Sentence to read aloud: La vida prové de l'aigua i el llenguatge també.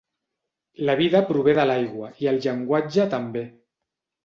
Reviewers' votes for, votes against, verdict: 3, 0, accepted